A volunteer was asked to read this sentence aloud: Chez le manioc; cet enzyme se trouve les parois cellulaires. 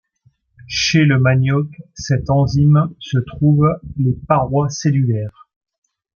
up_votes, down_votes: 2, 0